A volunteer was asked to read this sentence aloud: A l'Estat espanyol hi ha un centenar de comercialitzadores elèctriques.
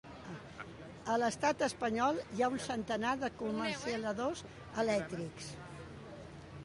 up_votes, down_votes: 1, 2